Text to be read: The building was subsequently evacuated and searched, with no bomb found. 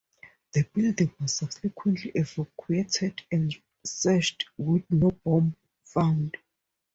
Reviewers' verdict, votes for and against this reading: accepted, 2, 0